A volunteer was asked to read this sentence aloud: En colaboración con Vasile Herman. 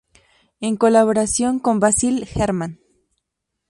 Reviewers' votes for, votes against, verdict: 0, 2, rejected